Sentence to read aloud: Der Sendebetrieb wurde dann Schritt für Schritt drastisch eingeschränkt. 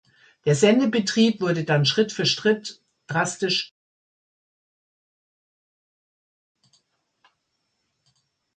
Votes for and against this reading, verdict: 0, 2, rejected